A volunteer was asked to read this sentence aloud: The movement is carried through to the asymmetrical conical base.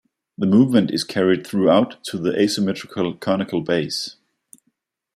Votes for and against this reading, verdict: 0, 2, rejected